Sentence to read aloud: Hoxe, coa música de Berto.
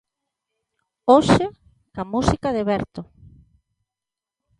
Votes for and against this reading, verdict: 0, 2, rejected